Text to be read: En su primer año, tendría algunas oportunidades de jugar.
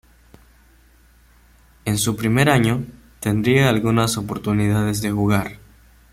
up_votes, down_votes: 0, 2